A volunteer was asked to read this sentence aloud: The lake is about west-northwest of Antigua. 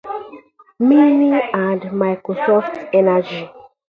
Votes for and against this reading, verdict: 0, 2, rejected